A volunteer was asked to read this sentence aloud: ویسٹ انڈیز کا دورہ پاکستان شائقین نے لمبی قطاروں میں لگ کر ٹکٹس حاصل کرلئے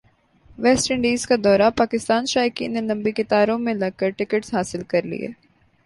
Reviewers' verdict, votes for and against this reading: rejected, 0, 2